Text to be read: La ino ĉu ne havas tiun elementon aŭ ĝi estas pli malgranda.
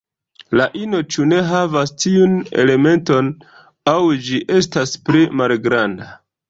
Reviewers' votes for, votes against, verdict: 2, 0, accepted